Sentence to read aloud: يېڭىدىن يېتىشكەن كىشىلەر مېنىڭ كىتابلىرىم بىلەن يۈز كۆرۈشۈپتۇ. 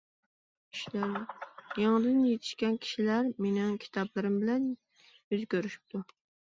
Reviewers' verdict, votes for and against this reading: rejected, 1, 2